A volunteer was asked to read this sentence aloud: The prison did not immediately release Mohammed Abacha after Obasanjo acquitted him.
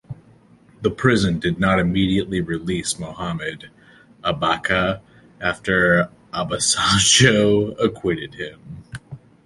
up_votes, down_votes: 2, 1